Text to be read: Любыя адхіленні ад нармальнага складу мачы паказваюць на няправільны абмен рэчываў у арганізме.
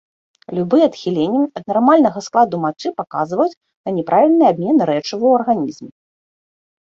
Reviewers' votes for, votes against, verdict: 2, 0, accepted